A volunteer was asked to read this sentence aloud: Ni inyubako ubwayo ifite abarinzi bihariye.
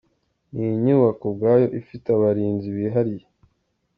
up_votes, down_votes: 2, 0